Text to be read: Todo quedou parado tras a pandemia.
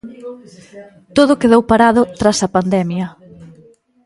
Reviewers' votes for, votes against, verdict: 0, 2, rejected